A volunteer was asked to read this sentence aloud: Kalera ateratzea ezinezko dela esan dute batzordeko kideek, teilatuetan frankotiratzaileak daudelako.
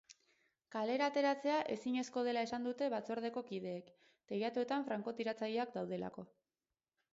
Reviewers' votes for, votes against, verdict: 0, 2, rejected